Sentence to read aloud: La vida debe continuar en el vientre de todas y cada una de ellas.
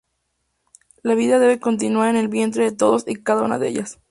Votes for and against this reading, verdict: 0, 2, rejected